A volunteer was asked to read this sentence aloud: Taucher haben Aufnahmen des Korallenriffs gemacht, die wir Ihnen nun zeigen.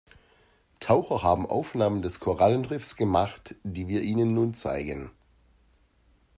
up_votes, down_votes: 2, 0